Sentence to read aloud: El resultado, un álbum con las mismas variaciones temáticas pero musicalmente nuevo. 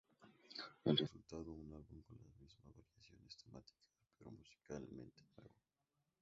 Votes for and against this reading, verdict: 0, 2, rejected